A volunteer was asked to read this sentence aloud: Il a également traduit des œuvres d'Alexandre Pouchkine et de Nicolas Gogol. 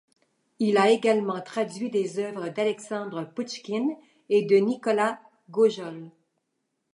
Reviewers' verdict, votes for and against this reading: rejected, 0, 2